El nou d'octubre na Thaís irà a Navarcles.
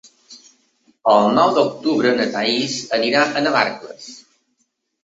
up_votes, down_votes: 0, 2